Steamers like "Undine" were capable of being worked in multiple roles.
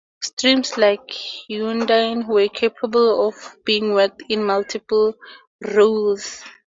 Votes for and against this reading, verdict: 0, 2, rejected